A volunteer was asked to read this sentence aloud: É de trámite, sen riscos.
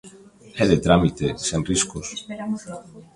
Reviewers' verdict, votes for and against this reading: rejected, 0, 2